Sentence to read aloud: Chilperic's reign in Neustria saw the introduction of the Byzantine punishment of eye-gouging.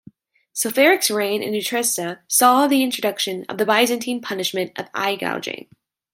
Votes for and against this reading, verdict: 0, 2, rejected